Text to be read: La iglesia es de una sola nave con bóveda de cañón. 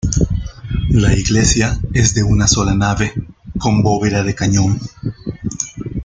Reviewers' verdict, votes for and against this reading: rejected, 1, 2